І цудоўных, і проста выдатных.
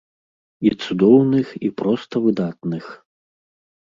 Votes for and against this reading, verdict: 2, 0, accepted